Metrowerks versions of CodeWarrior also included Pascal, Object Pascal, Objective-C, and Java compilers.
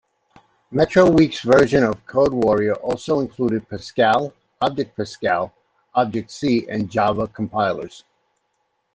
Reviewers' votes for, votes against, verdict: 1, 2, rejected